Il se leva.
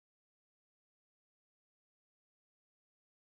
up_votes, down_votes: 1, 2